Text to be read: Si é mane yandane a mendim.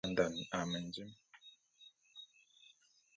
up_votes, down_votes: 0, 2